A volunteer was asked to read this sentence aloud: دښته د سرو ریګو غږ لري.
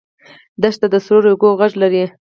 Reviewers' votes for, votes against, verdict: 2, 4, rejected